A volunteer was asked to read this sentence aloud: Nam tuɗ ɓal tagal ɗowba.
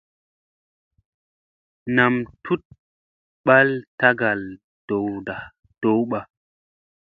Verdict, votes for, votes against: accepted, 2, 0